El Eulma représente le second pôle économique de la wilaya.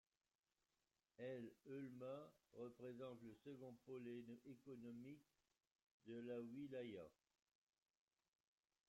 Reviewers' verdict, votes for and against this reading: rejected, 0, 2